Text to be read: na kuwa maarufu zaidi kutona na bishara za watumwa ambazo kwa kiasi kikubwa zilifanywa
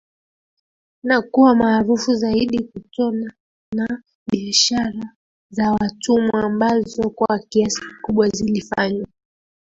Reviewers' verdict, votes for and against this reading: rejected, 1, 2